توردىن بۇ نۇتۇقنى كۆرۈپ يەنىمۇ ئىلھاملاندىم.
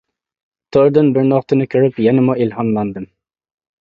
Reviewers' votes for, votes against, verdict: 0, 2, rejected